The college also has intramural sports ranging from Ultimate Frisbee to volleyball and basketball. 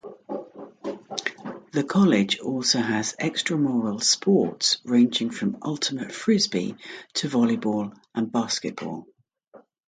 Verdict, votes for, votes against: rejected, 0, 2